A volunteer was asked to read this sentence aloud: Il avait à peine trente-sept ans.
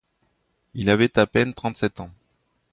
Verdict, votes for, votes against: accepted, 2, 0